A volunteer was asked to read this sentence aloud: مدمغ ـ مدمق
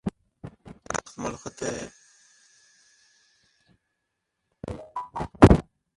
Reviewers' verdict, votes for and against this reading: rejected, 0, 2